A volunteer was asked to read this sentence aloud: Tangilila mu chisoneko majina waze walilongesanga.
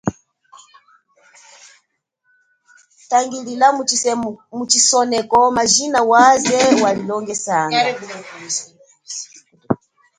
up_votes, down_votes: 0, 2